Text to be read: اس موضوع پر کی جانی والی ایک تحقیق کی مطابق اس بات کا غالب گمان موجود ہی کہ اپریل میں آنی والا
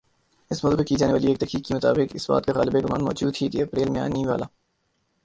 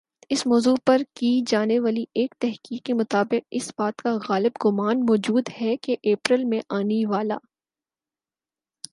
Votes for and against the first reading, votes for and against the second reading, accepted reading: 2, 3, 4, 0, second